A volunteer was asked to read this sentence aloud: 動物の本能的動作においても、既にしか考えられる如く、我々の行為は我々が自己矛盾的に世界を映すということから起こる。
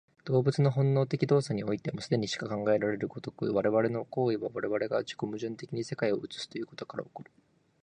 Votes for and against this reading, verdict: 2, 1, accepted